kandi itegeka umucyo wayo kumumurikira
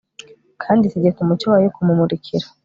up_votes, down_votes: 2, 0